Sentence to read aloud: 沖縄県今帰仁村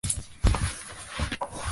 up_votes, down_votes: 1, 2